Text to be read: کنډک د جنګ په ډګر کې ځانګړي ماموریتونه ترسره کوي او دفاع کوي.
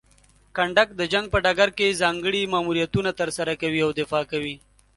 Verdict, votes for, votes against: accepted, 2, 0